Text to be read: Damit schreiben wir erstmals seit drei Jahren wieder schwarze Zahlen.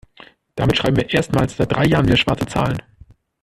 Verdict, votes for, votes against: accepted, 2, 0